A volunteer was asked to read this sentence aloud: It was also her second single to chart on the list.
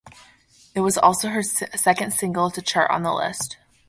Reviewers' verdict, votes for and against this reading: rejected, 0, 2